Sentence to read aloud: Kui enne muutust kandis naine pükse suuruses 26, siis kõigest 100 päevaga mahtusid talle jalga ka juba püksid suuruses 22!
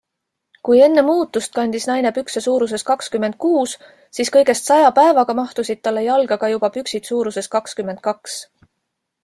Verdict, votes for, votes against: rejected, 0, 2